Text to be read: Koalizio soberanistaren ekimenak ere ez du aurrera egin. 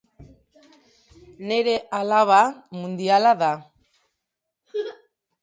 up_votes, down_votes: 0, 2